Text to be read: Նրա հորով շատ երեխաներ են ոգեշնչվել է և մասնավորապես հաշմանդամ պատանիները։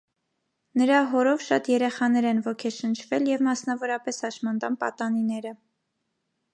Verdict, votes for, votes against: rejected, 0, 2